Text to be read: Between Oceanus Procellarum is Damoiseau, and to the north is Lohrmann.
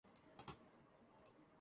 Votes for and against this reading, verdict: 0, 2, rejected